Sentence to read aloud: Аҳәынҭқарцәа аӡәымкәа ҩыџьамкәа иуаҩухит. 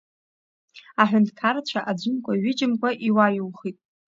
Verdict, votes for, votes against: accepted, 2, 0